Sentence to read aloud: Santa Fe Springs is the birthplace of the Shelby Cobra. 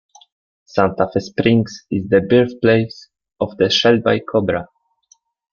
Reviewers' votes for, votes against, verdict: 2, 0, accepted